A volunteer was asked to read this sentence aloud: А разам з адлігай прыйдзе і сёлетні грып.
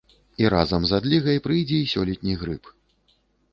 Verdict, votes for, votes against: rejected, 0, 2